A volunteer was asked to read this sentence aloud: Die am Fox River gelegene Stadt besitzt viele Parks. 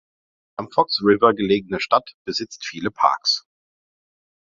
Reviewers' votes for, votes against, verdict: 0, 3, rejected